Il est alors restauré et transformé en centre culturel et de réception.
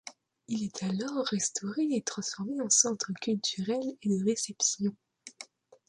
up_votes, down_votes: 1, 2